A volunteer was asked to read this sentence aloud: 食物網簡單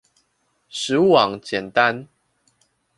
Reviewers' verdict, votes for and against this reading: accepted, 2, 0